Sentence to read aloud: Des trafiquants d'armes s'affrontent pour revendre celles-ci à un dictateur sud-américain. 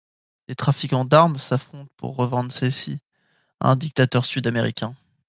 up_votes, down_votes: 2, 0